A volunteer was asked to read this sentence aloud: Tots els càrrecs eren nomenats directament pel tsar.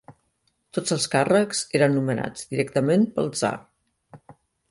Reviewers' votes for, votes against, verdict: 2, 0, accepted